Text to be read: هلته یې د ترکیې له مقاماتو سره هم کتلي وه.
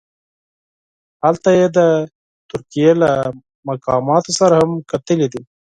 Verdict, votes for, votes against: accepted, 4, 0